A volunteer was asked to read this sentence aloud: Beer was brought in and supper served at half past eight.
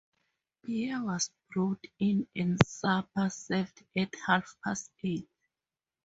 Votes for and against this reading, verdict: 0, 4, rejected